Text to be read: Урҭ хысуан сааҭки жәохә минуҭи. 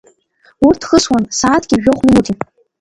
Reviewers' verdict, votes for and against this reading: rejected, 1, 2